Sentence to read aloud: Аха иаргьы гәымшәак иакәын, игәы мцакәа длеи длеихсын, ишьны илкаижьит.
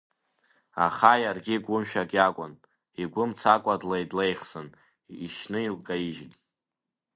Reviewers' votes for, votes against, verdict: 2, 0, accepted